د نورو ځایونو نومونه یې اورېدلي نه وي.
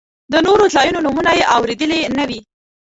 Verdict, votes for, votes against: rejected, 0, 2